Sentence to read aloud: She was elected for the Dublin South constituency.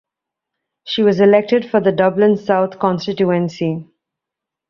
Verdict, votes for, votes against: rejected, 1, 2